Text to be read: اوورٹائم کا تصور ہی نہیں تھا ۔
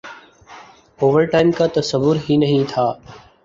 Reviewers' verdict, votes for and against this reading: accepted, 2, 0